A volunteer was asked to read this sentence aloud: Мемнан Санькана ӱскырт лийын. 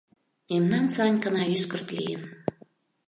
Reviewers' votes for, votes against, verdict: 2, 0, accepted